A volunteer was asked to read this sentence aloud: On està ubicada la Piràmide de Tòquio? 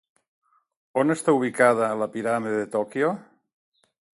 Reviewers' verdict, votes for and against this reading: accepted, 3, 0